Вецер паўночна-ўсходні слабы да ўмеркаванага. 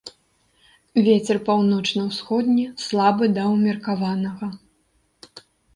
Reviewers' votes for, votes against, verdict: 2, 0, accepted